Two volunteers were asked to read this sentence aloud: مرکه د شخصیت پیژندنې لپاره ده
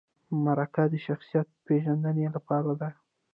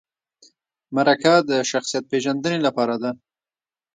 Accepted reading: second